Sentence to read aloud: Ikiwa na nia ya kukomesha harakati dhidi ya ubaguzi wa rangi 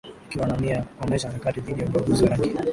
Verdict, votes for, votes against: accepted, 6, 2